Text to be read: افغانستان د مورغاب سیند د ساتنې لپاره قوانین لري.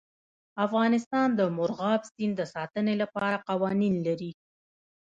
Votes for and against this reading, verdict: 2, 0, accepted